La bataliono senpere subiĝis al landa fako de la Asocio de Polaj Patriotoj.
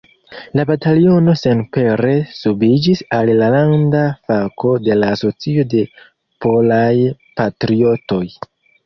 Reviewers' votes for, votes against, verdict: 1, 2, rejected